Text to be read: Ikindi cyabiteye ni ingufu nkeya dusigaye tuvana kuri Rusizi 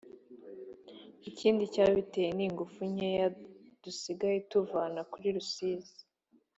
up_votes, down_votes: 2, 0